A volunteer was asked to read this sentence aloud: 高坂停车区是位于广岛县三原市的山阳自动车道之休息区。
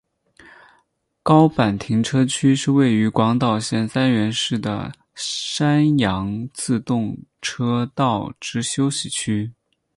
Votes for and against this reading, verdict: 6, 0, accepted